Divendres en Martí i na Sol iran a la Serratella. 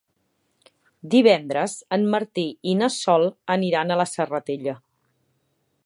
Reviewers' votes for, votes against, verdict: 2, 0, accepted